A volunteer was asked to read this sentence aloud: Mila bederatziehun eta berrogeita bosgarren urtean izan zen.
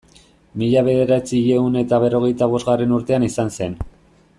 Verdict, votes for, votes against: accepted, 2, 0